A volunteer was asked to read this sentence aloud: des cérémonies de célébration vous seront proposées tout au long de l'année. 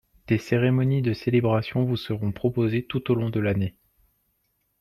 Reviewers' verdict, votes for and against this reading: accepted, 2, 0